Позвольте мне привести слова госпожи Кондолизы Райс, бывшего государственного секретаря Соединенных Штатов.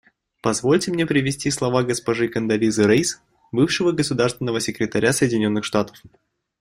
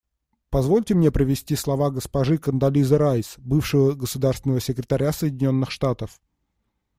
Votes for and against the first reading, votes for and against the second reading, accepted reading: 0, 2, 2, 0, second